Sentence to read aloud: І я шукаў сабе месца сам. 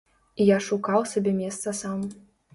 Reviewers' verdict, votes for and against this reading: accepted, 2, 0